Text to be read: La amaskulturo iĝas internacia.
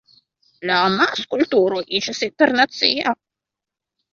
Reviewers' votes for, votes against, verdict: 2, 0, accepted